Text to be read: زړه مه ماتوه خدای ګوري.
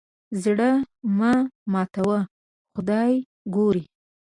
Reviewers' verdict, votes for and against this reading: accepted, 2, 0